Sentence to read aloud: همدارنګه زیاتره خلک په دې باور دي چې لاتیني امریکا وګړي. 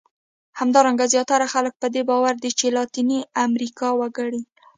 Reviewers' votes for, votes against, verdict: 2, 0, accepted